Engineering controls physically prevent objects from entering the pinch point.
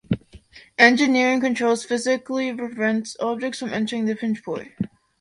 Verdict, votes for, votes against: rejected, 1, 2